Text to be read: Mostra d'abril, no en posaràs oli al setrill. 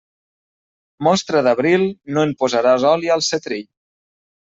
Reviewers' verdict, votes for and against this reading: accepted, 2, 0